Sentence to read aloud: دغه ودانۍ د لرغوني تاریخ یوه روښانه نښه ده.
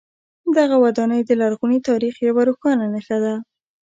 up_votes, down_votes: 0, 2